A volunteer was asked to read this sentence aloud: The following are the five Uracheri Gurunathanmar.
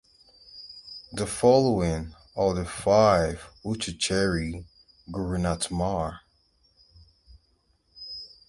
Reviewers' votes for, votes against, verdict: 2, 2, rejected